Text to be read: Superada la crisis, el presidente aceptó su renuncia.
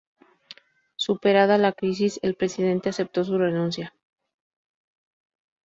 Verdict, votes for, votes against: accepted, 4, 0